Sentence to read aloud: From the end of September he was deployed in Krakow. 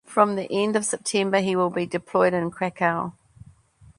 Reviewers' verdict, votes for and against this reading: rejected, 1, 2